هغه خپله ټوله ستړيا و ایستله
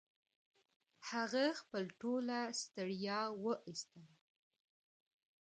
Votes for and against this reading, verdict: 1, 2, rejected